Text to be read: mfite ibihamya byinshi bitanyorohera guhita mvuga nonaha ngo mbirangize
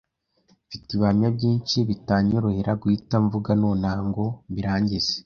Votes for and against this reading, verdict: 2, 1, accepted